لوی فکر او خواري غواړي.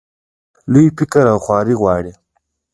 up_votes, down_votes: 1, 2